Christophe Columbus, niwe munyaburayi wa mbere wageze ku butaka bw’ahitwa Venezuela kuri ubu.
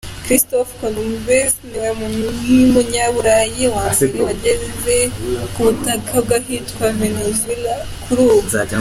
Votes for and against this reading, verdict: 2, 0, accepted